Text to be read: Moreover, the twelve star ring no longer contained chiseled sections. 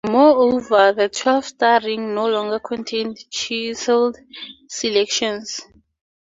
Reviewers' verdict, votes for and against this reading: rejected, 0, 2